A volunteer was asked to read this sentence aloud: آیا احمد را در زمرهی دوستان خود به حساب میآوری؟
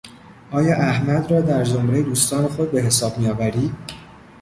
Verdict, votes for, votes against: accepted, 2, 0